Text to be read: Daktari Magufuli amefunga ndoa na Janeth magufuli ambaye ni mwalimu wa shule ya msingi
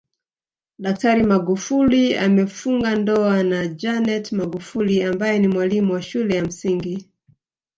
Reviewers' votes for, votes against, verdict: 0, 2, rejected